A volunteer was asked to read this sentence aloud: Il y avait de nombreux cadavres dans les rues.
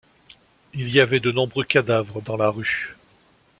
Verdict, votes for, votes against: rejected, 1, 2